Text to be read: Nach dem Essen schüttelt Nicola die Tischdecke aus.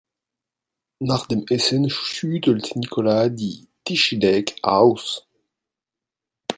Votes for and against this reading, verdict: 0, 2, rejected